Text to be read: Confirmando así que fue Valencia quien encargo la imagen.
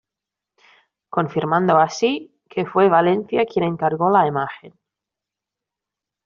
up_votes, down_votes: 2, 0